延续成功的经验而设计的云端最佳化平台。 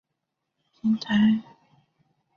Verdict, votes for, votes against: rejected, 0, 2